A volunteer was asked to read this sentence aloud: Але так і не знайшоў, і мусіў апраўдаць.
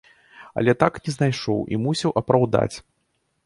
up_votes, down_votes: 0, 2